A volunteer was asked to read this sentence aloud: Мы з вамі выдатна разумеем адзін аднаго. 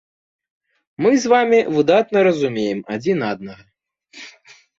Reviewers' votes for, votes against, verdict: 1, 2, rejected